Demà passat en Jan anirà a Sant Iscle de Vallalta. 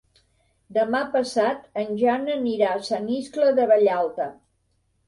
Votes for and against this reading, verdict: 3, 0, accepted